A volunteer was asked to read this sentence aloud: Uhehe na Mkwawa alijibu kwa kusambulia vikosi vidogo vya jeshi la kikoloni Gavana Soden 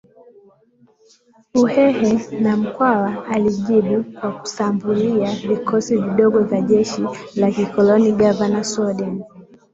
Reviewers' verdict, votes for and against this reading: accepted, 2, 1